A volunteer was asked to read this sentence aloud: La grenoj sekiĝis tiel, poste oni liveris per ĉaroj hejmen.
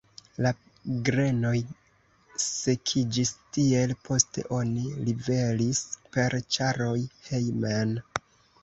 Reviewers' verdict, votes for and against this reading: rejected, 1, 2